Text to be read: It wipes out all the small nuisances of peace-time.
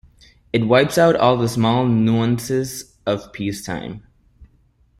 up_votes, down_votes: 0, 2